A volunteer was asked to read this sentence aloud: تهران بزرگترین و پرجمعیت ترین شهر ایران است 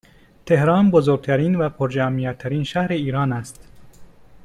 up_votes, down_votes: 2, 0